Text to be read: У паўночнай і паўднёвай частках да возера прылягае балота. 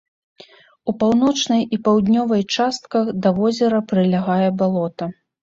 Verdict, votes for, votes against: accepted, 2, 0